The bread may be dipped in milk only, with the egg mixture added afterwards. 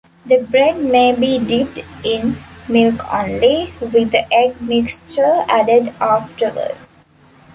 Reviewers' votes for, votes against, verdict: 2, 0, accepted